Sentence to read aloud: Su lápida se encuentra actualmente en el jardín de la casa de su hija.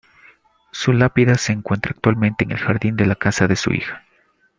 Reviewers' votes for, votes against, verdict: 2, 0, accepted